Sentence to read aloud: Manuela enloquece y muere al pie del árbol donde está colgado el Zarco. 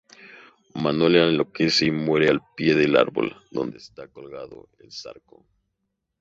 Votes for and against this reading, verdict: 0, 2, rejected